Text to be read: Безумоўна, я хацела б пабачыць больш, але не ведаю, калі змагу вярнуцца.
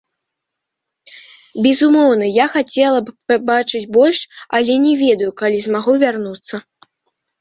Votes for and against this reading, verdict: 1, 2, rejected